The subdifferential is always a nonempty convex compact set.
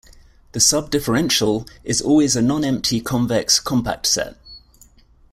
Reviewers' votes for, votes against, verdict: 2, 0, accepted